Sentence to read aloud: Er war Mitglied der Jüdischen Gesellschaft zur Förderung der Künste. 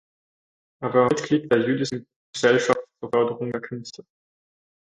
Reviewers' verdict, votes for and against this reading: rejected, 0, 4